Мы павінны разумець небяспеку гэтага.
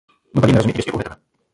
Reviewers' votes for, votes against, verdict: 1, 2, rejected